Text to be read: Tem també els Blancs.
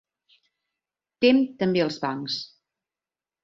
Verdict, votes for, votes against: rejected, 0, 2